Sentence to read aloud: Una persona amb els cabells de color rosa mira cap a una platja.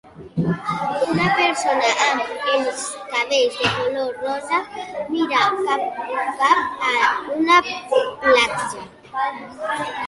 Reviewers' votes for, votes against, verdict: 0, 2, rejected